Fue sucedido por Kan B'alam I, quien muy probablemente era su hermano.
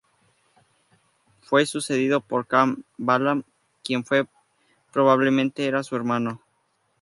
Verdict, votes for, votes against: rejected, 2, 6